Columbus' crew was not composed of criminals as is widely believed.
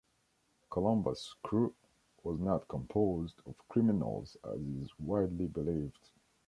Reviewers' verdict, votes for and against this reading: accepted, 2, 0